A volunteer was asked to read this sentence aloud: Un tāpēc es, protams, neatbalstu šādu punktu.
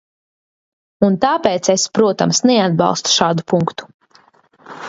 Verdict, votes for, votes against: accepted, 2, 0